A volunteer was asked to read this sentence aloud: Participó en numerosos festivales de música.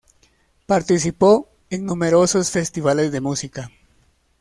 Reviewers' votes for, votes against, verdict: 2, 0, accepted